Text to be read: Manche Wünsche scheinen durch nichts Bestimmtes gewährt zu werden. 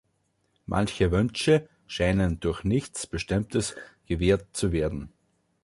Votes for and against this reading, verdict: 3, 0, accepted